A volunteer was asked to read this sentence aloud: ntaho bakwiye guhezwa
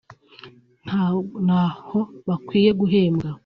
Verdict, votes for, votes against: rejected, 3, 4